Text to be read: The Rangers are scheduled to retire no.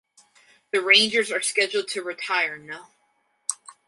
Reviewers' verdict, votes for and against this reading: accepted, 4, 0